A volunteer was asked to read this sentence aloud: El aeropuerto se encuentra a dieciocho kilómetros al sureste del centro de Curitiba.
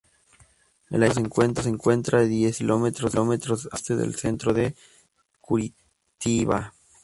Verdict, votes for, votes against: rejected, 0, 2